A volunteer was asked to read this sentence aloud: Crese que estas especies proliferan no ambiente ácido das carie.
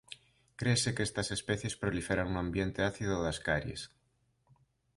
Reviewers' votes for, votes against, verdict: 0, 2, rejected